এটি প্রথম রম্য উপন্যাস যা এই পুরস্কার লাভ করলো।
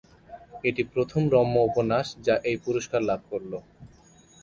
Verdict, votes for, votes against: accepted, 2, 0